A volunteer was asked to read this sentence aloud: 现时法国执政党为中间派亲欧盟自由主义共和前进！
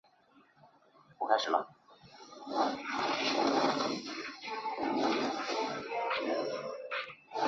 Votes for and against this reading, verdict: 0, 2, rejected